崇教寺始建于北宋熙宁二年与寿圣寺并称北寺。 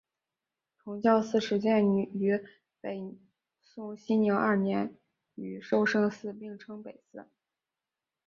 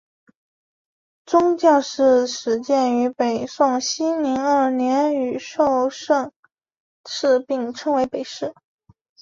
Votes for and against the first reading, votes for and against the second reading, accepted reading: 5, 0, 1, 3, first